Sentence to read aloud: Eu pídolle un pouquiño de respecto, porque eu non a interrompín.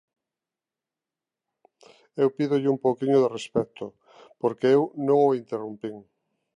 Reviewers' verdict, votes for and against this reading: rejected, 0, 2